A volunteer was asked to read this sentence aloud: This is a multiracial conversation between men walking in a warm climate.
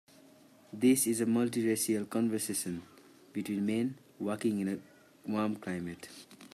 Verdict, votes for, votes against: accepted, 2, 0